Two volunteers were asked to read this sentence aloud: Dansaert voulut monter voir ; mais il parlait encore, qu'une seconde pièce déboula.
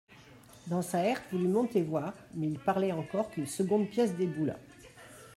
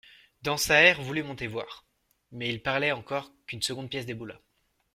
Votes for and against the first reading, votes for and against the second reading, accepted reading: 0, 2, 2, 0, second